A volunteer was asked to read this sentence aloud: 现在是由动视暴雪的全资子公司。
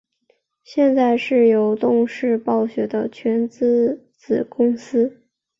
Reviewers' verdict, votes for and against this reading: accepted, 2, 0